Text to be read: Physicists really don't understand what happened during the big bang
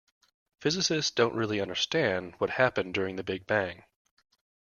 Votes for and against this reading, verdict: 0, 2, rejected